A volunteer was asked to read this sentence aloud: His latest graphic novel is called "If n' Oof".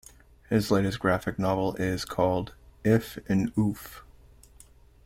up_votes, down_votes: 2, 0